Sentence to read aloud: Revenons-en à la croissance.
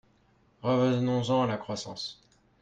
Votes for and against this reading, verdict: 1, 2, rejected